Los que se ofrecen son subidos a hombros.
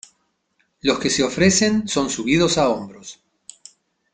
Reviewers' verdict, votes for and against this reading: accepted, 2, 0